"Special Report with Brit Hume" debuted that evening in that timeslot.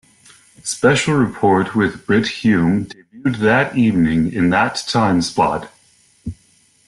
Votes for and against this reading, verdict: 2, 3, rejected